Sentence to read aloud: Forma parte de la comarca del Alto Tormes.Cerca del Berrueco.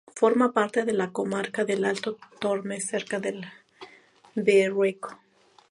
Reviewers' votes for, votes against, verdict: 2, 0, accepted